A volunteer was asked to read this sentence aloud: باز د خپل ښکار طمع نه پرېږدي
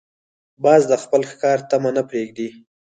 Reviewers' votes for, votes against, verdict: 2, 4, rejected